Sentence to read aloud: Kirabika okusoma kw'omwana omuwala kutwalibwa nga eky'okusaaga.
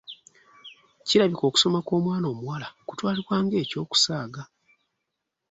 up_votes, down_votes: 2, 0